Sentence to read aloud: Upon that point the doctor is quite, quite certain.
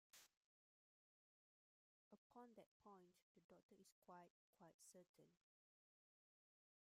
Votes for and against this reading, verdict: 0, 2, rejected